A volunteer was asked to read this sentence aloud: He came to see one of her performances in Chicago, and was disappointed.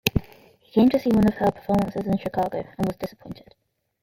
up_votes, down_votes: 0, 2